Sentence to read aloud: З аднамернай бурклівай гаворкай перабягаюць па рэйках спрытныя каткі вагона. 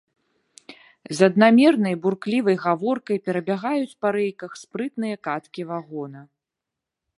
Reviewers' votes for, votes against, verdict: 1, 2, rejected